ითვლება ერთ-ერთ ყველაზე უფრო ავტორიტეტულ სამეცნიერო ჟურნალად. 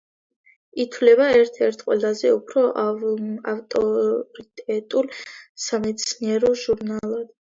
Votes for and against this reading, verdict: 2, 0, accepted